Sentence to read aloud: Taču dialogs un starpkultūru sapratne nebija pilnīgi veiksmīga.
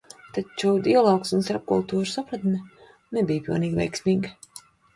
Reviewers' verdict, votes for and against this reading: accepted, 2, 0